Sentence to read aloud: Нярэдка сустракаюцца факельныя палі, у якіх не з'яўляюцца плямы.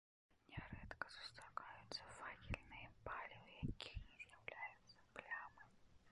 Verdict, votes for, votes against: rejected, 0, 2